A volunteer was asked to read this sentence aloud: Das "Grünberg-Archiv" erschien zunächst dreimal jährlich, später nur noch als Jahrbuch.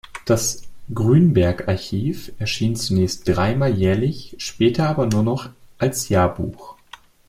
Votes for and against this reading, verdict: 0, 2, rejected